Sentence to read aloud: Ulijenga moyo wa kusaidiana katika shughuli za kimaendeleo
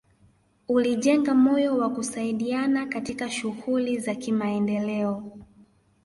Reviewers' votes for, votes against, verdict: 2, 1, accepted